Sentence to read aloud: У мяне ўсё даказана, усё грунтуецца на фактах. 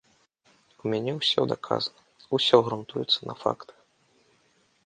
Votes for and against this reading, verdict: 2, 0, accepted